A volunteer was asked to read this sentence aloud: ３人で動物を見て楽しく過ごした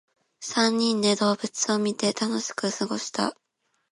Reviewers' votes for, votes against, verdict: 0, 2, rejected